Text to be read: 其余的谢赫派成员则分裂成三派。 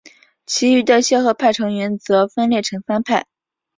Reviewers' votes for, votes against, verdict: 2, 1, accepted